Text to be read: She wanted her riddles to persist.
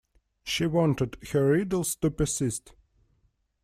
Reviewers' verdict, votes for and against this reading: accepted, 2, 0